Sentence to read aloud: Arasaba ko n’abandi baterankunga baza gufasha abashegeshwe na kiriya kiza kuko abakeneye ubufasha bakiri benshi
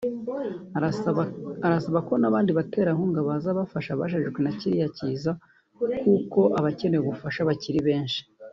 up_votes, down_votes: 1, 2